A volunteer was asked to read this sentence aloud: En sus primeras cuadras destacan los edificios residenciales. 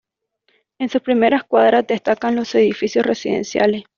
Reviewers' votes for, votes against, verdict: 2, 0, accepted